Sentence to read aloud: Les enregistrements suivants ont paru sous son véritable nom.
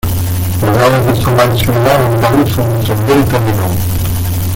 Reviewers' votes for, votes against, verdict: 0, 2, rejected